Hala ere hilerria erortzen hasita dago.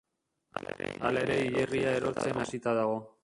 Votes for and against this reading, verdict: 0, 2, rejected